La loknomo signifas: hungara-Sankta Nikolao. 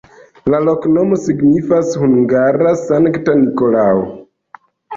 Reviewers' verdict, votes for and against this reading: rejected, 1, 2